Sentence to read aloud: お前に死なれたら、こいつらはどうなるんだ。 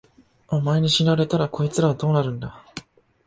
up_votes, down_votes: 2, 0